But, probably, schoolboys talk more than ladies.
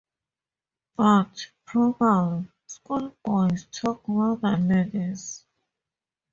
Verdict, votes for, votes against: rejected, 0, 4